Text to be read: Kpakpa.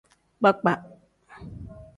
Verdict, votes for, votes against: accepted, 2, 0